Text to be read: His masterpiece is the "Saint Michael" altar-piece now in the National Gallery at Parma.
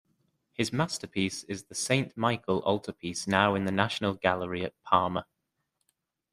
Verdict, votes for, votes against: accepted, 2, 0